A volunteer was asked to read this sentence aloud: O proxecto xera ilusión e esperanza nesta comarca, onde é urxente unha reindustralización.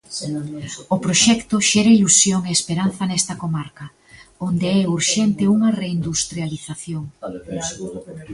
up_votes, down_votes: 1, 2